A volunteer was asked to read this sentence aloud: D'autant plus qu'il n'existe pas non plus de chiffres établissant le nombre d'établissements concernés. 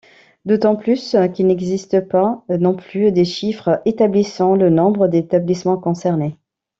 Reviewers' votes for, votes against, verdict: 2, 1, accepted